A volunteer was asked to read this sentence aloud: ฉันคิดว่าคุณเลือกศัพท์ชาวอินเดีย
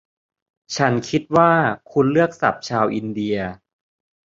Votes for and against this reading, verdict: 2, 0, accepted